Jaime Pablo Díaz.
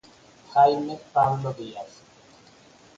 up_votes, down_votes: 6, 0